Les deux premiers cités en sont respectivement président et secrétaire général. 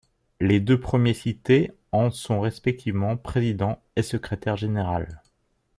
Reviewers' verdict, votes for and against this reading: accepted, 2, 1